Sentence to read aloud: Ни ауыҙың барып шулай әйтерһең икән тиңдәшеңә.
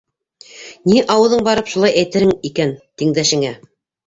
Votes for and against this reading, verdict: 0, 2, rejected